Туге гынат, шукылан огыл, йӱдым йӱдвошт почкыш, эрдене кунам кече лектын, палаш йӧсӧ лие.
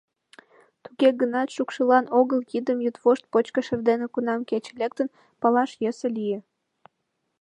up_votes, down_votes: 0, 2